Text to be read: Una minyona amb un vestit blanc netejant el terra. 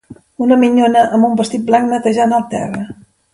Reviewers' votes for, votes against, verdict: 2, 0, accepted